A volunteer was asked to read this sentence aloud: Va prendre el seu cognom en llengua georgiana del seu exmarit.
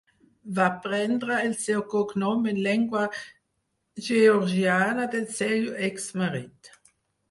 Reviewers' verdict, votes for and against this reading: rejected, 0, 4